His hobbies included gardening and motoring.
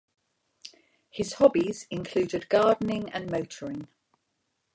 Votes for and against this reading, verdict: 2, 0, accepted